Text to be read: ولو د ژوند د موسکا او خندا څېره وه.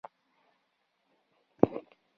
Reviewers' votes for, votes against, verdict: 1, 2, rejected